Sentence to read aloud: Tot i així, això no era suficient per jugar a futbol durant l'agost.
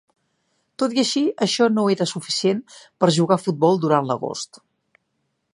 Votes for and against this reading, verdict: 3, 0, accepted